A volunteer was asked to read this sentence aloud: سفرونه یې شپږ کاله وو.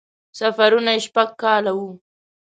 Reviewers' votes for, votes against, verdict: 6, 0, accepted